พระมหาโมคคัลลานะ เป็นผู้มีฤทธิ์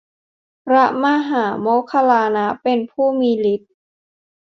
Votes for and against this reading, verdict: 2, 0, accepted